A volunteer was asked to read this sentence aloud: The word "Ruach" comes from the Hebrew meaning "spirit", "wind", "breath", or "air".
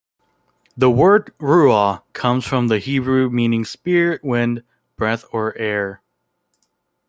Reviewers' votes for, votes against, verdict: 0, 2, rejected